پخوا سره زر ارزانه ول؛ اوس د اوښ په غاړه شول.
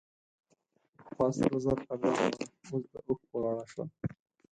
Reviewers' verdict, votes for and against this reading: rejected, 4, 6